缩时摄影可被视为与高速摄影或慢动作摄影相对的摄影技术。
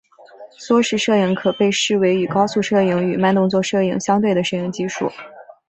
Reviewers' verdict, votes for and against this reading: rejected, 2, 2